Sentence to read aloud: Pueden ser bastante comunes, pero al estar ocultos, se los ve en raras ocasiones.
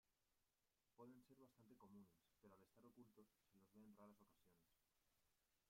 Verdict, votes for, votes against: rejected, 1, 2